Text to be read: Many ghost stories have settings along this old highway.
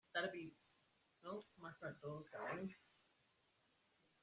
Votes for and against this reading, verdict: 0, 2, rejected